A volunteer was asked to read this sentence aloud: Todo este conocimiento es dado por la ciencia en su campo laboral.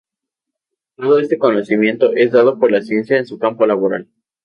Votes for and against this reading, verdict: 0, 2, rejected